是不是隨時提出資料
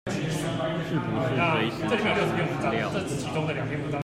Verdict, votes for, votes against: rejected, 0, 2